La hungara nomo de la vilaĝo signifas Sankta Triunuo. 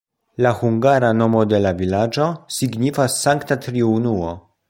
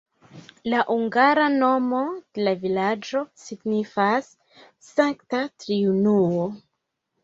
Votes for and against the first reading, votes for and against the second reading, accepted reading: 2, 0, 1, 3, first